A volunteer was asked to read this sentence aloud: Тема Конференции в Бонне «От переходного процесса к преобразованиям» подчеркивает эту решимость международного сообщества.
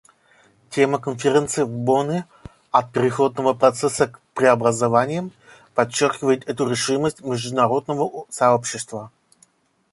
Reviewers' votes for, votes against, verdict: 1, 2, rejected